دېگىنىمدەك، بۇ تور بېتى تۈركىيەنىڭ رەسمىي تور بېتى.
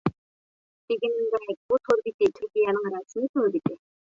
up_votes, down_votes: 1, 2